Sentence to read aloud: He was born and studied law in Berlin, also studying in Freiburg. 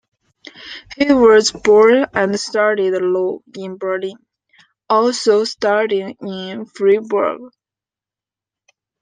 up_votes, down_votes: 2, 0